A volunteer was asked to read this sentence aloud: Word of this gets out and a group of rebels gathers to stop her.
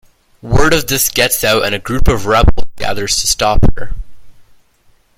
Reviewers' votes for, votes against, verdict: 1, 2, rejected